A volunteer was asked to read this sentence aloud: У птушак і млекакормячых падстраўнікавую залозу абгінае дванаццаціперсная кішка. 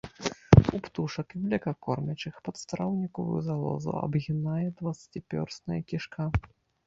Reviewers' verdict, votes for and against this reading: rejected, 1, 2